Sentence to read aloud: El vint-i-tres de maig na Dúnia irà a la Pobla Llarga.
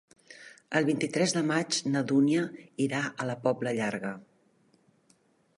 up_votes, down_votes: 3, 0